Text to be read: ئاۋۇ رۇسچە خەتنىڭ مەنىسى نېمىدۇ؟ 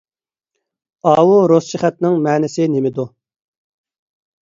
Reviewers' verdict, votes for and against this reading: accepted, 2, 0